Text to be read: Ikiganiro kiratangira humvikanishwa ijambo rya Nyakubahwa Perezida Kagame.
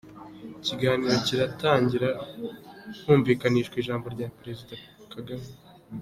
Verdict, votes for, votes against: rejected, 1, 2